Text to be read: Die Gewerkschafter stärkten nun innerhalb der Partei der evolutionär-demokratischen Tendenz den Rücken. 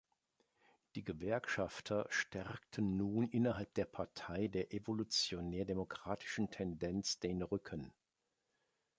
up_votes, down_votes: 2, 0